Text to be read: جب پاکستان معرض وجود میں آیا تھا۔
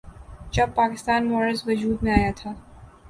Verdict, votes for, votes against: rejected, 0, 2